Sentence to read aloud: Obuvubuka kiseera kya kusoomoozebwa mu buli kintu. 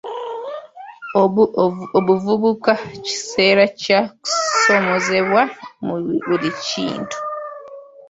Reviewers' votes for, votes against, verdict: 0, 2, rejected